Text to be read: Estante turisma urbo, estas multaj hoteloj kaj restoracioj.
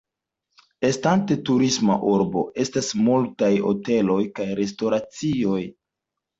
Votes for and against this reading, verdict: 2, 0, accepted